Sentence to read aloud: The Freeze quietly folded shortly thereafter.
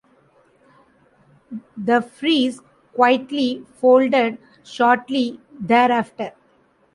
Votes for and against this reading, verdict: 2, 0, accepted